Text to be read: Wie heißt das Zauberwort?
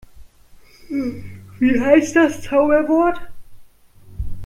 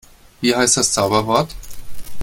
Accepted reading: second